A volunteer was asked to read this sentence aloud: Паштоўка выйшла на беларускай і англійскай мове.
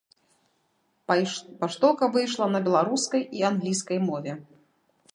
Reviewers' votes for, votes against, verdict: 1, 2, rejected